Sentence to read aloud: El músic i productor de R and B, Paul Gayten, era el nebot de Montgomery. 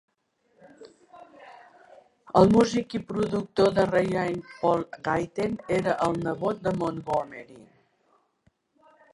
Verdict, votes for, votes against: rejected, 0, 2